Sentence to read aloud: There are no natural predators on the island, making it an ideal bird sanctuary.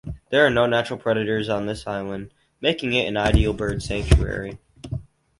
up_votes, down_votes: 0, 4